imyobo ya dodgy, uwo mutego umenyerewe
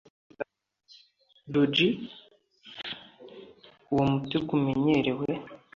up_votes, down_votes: 0, 2